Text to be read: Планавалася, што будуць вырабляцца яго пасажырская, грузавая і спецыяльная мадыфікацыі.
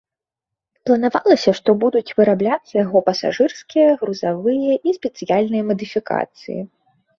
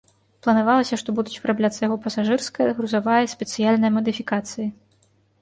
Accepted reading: second